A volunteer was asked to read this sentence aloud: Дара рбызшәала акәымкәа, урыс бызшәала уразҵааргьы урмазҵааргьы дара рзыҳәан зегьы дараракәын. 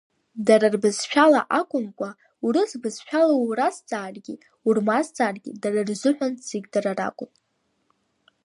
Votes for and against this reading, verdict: 2, 1, accepted